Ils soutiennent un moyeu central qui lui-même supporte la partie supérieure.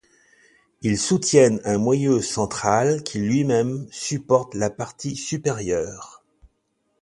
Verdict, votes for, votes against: accepted, 2, 0